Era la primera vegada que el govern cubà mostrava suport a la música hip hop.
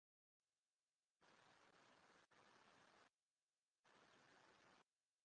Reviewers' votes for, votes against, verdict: 0, 2, rejected